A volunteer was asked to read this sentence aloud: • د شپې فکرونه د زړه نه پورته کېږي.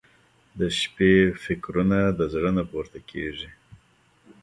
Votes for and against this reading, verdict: 2, 1, accepted